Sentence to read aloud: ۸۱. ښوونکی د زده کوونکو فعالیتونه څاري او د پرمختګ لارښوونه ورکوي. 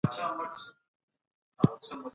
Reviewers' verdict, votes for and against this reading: rejected, 0, 2